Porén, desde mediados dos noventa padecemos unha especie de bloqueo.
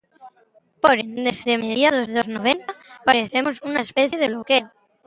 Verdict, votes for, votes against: rejected, 0, 2